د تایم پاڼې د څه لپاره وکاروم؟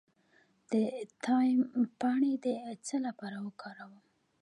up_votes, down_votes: 1, 2